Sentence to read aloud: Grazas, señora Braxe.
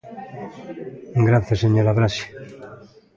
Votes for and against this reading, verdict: 2, 0, accepted